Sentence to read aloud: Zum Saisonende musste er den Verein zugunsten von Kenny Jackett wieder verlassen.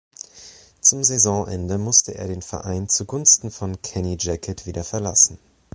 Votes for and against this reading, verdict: 2, 0, accepted